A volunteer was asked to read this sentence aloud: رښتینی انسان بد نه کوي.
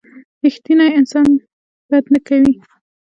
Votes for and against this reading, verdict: 2, 0, accepted